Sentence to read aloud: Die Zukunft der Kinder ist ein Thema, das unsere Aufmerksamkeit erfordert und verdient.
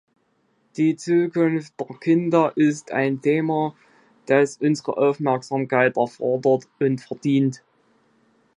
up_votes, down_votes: 2, 0